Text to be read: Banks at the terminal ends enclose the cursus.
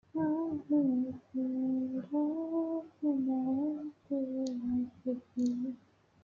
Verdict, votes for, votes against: rejected, 0, 2